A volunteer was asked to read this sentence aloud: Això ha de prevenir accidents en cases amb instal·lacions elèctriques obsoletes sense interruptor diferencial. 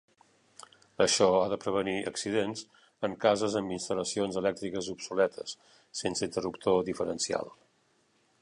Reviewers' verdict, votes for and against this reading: accepted, 3, 0